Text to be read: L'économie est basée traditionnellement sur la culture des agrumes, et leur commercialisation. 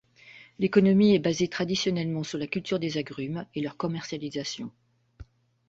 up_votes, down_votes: 2, 0